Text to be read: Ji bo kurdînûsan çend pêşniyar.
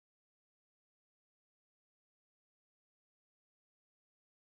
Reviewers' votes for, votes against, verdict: 0, 2, rejected